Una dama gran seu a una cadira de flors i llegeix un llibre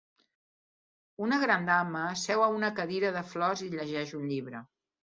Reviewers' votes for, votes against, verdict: 0, 2, rejected